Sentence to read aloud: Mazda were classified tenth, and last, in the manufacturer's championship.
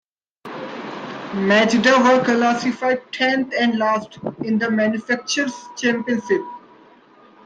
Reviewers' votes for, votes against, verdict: 0, 2, rejected